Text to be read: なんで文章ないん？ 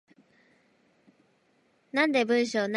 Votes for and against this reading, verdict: 0, 2, rejected